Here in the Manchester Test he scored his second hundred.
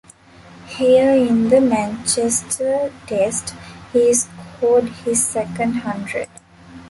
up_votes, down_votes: 0, 2